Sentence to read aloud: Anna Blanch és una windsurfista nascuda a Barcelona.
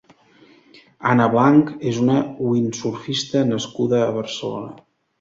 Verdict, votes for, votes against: accepted, 2, 0